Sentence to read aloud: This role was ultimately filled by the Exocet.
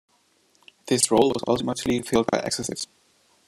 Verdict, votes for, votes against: rejected, 0, 2